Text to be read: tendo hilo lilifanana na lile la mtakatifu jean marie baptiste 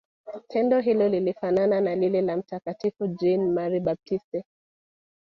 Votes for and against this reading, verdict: 1, 2, rejected